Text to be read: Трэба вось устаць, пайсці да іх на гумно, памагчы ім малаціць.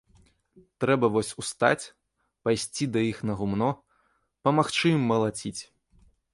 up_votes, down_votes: 2, 0